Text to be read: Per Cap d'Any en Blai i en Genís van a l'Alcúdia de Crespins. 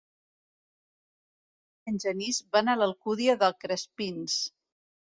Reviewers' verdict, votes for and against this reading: rejected, 0, 2